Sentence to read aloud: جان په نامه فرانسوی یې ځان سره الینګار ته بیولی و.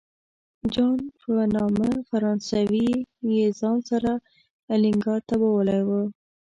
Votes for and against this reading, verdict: 1, 2, rejected